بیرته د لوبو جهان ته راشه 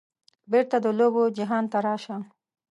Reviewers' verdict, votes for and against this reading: accepted, 2, 0